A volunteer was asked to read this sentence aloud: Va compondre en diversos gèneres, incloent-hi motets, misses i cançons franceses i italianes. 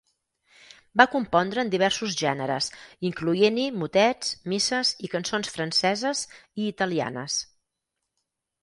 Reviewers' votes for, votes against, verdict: 2, 4, rejected